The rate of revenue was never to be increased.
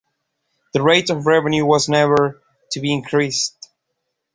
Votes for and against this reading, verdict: 2, 0, accepted